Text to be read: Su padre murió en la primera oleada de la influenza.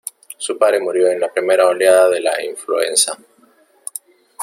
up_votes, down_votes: 1, 2